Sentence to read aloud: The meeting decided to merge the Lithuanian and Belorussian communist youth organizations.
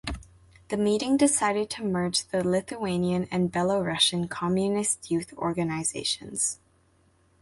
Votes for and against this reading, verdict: 2, 0, accepted